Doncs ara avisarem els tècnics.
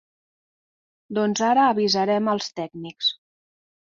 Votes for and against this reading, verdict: 3, 0, accepted